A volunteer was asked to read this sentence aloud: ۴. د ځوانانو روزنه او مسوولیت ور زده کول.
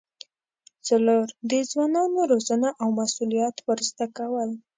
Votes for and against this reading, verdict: 0, 2, rejected